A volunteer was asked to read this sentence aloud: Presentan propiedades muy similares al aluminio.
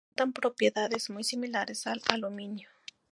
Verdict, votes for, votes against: rejected, 0, 2